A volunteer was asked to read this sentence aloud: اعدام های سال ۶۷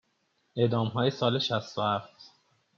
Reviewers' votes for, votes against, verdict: 0, 2, rejected